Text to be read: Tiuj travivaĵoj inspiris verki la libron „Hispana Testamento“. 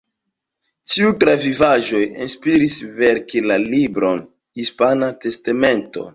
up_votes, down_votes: 2, 0